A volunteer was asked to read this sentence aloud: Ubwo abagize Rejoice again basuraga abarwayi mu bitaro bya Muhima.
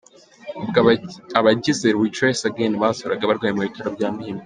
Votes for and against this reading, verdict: 1, 2, rejected